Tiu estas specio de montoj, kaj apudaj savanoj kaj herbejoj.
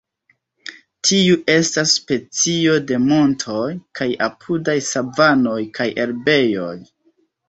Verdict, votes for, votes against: rejected, 1, 2